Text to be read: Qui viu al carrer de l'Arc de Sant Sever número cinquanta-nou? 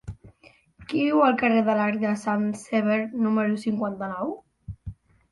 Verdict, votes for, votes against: accepted, 3, 1